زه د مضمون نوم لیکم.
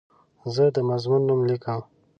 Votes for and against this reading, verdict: 2, 0, accepted